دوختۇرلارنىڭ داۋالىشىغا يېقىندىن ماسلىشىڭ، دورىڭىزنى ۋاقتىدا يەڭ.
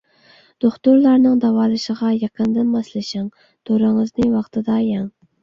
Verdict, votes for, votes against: accepted, 2, 0